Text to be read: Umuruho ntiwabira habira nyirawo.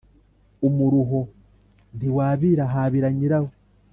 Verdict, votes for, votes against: accepted, 2, 0